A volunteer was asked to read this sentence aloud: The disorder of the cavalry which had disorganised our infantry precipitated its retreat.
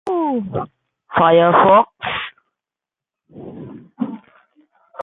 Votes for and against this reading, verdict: 0, 2, rejected